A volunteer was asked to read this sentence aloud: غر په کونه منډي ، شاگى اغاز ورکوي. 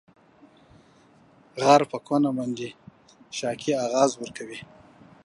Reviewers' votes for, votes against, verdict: 1, 2, rejected